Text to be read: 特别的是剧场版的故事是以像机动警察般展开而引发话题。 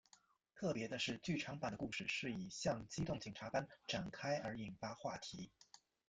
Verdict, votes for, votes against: rejected, 1, 2